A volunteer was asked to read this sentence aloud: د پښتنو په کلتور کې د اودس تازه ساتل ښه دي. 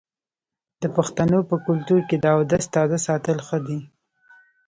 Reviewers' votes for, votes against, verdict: 2, 1, accepted